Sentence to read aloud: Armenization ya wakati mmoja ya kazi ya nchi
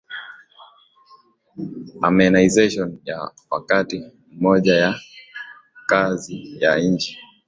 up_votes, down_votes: 2, 0